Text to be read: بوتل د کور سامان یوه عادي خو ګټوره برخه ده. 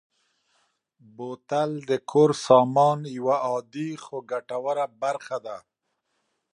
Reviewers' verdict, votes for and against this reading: accepted, 2, 0